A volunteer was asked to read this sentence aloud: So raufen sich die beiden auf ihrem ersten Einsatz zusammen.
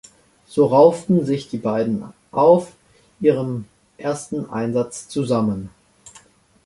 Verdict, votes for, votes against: rejected, 0, 2